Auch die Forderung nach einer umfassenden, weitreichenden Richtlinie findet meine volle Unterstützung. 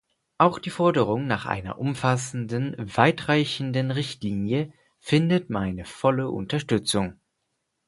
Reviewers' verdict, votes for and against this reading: accepted, 4, 0